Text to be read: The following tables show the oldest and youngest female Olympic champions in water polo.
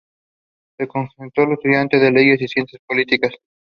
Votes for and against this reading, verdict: 0, 2, rejected